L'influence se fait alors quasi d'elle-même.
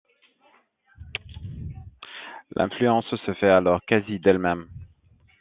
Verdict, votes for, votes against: rejected, 0, 2